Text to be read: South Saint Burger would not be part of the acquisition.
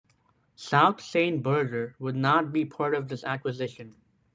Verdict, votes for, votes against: rejected, 1, 2